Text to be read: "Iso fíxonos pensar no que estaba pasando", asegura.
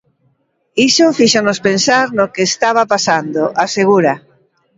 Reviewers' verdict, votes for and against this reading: accepted, 2, 0